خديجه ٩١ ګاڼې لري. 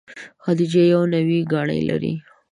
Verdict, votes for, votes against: rejected, 0, 2